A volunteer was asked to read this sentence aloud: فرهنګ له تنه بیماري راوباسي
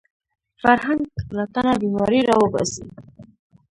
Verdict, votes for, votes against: rejected, 1, 2